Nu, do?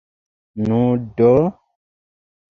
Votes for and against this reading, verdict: 2, 1, accepted